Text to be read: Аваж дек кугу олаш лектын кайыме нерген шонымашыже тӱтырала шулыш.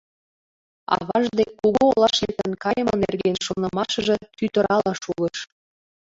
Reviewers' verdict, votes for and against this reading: accepted, 2, 0